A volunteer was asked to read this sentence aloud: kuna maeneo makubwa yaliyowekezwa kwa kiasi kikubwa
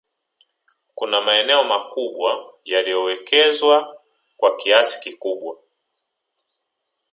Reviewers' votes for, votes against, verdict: 3, 2, accepted